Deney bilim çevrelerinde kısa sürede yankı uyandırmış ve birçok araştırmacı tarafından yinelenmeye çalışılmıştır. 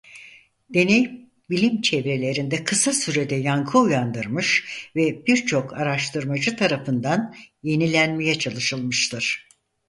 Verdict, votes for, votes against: rejected, 0, 4